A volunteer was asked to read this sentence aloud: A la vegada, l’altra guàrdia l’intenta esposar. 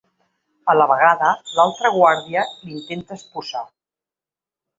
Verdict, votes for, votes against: rejected, 1, 2